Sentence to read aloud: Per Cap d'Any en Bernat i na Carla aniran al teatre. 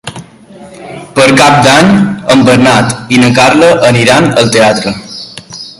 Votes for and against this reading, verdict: 3, 1, accepted